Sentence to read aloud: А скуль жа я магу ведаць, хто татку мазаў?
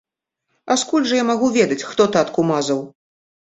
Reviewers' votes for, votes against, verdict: 2, 0, accepted